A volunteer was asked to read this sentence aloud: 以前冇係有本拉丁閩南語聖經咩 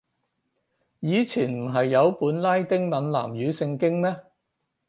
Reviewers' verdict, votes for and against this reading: rejected, 0, 6